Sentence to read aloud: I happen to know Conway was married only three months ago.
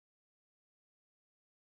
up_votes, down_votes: 0, 2